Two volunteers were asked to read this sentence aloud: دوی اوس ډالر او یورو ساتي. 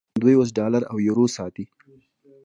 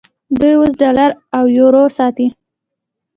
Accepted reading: second